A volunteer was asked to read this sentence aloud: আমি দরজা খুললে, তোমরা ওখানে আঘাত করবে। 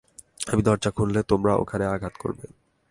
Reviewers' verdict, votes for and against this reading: accepted, 2, 0